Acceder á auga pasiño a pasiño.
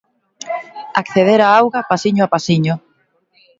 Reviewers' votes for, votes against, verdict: 2, 0, accepted